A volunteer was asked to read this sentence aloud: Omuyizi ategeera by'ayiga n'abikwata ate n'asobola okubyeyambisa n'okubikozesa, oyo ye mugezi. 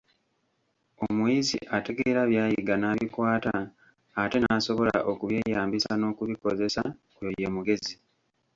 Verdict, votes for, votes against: rejected, 1, 2